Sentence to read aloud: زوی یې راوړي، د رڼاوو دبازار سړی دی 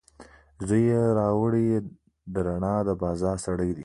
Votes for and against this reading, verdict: 2, 1, accepted